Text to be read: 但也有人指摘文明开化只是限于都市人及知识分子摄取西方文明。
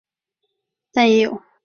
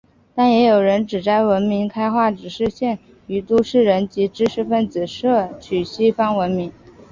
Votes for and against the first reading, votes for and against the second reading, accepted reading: 0, 3, 2, 0, second